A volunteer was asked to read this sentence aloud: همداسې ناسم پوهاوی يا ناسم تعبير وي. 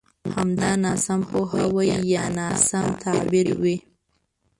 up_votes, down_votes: 0, 2